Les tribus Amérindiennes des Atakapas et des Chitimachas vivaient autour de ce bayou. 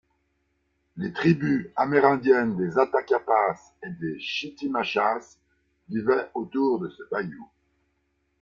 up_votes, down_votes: 0, 2